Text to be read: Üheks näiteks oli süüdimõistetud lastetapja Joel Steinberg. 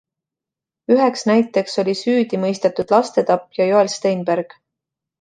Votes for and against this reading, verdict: 2, 0, accepted